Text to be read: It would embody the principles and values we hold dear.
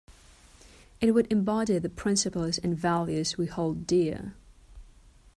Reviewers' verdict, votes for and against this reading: accepted, 2, 0